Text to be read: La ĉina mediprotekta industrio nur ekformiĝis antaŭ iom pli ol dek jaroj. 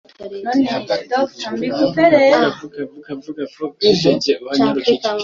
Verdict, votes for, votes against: rejected, 0, 3